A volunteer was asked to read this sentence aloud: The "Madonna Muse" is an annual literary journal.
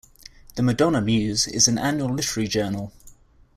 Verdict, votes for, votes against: rejected, 0, 2